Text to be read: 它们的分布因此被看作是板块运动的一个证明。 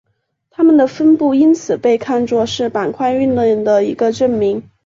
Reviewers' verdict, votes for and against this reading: accepted, 5, 1